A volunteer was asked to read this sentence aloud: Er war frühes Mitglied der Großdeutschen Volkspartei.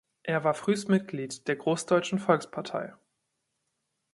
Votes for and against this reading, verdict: 1, 2, rejected